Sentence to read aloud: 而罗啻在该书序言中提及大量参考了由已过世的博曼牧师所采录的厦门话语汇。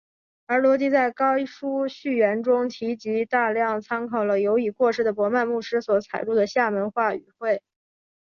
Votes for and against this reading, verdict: 3, 1, accepted